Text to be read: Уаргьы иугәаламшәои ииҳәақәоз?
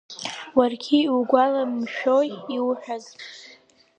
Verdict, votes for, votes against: rejected, 2, 4